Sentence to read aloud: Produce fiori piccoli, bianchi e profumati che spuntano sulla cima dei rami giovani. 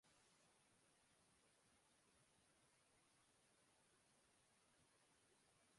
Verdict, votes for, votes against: rejected, 0, 2